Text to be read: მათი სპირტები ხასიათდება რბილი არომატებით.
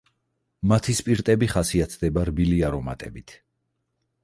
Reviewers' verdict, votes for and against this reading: accepted, 4, 0